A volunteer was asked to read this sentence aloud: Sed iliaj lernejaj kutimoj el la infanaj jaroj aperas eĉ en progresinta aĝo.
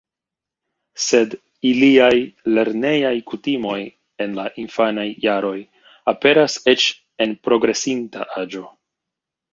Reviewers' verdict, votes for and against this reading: rejected, 1, 2